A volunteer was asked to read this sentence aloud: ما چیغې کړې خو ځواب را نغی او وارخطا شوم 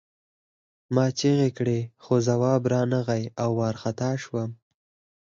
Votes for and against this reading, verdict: 0, 4, rejected